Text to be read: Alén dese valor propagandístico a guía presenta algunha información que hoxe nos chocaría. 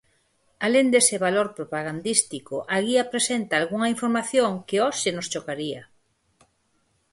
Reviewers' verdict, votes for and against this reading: accepted, 4, 0